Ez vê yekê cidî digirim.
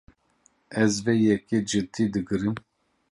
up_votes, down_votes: 2, 0